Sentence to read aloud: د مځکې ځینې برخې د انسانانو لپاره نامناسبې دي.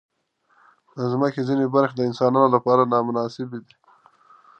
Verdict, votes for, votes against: accepted, 2, 0